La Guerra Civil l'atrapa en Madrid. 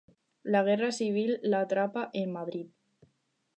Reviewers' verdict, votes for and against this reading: rejected, 2, 2